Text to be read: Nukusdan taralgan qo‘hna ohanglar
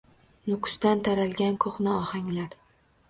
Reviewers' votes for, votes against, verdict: 2, 0, accepted